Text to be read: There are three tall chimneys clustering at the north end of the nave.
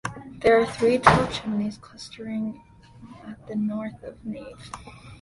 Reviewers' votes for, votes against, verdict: 0, 2, rejected